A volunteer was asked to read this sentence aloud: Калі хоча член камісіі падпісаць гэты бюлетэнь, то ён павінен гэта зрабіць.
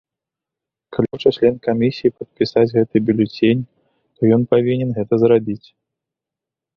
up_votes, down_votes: 2, 1